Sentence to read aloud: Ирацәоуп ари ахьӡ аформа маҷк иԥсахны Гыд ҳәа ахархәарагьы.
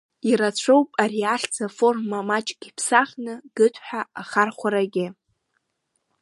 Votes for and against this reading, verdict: 2, 0, accepted